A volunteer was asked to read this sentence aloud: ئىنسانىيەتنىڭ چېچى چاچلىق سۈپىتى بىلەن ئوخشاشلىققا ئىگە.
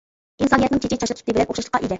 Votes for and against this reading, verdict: 0, 2, rejected